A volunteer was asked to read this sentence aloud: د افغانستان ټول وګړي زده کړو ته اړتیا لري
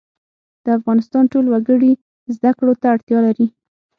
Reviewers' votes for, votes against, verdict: 6, 0, accepted